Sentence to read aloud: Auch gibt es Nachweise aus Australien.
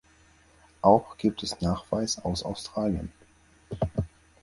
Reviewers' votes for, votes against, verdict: 0, 4, rejected